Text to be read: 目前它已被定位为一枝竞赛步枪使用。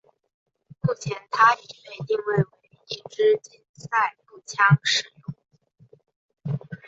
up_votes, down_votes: 0, 2